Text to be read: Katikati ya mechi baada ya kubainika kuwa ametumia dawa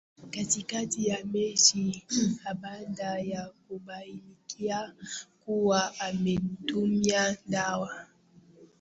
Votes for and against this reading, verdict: 0, 2, rejected